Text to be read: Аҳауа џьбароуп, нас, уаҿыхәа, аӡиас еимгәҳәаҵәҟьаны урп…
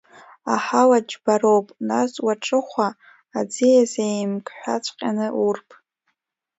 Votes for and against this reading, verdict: 2, 1, accepted